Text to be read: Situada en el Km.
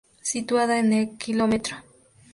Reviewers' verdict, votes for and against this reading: accepted, 4, 0